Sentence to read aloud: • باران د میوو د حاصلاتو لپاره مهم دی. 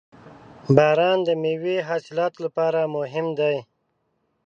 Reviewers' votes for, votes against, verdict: 1, 2, rejected